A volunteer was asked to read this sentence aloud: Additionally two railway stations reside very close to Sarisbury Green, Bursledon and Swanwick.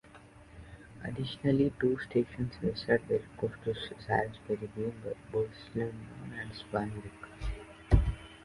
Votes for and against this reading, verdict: 1, 3, rejected